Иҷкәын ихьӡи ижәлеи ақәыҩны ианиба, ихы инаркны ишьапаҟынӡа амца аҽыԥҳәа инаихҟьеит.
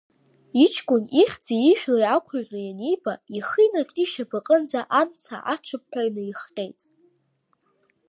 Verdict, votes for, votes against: rejected, 1, 2